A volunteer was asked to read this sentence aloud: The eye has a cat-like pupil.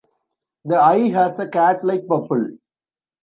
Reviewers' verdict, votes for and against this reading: rejected, 1, 2